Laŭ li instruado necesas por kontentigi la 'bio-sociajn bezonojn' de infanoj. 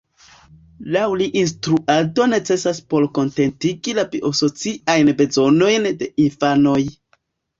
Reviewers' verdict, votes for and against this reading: rejected, 1, 2